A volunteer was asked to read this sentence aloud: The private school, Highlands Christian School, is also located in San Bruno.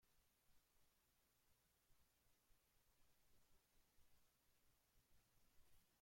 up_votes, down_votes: 0, 2